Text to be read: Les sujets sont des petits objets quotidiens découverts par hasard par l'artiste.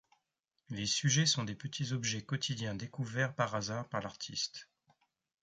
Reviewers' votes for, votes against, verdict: 0, 2, rejected